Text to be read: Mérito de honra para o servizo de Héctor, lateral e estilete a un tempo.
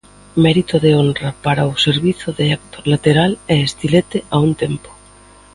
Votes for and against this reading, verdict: 1, 2, rejected